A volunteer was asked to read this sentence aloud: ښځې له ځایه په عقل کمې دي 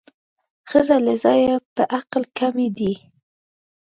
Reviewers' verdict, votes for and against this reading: accepted, 2, 0